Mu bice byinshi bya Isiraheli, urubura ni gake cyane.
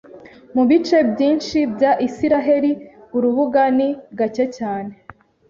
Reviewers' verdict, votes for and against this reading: rejected, 1, 2